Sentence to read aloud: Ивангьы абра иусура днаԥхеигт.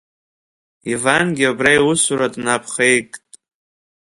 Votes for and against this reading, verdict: 1, 2, rejected